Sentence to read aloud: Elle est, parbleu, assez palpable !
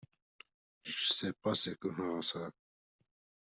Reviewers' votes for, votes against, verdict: 0, 2, rejected